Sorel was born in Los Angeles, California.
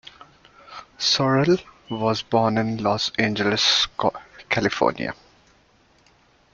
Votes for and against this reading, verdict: 1, 2, rejected